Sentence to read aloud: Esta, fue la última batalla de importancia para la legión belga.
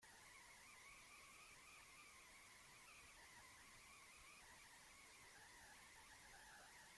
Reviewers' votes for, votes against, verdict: 0, 2, rejected